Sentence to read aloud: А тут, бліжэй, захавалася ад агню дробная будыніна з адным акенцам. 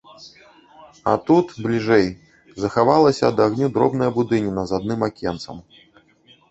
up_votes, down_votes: 1, 2